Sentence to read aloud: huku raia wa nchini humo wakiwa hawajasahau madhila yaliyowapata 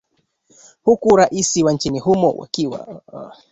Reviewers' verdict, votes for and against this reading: rejected, 0, 2